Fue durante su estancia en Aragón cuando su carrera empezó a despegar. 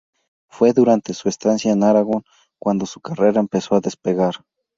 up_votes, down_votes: 2, 2